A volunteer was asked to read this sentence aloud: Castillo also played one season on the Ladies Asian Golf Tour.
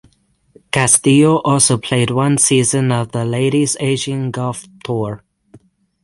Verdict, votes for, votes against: accepted, 6, 0